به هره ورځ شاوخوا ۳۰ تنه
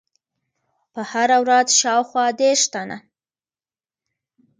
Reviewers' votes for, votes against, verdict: 0, 2, rejected